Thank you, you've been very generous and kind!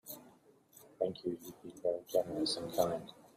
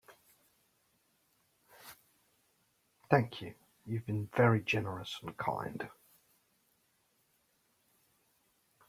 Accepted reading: second